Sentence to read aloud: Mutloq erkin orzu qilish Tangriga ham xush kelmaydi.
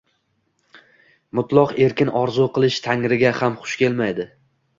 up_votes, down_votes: 2, 0